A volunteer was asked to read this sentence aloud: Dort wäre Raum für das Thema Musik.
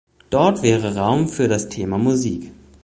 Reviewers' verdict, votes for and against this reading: accepted, 2, 0